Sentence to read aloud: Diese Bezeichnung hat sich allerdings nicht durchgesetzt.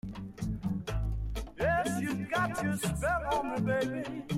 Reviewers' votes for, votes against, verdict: 1, 2, rejected